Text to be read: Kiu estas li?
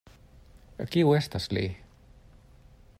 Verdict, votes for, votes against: accepted, 2, 0